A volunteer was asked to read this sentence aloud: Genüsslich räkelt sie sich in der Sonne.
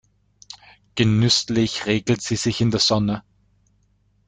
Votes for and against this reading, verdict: 2, 1, accepted